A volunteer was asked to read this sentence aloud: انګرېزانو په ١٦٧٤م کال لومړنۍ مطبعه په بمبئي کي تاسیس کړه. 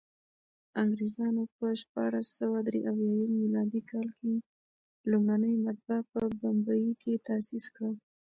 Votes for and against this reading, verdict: 0, 2, rejected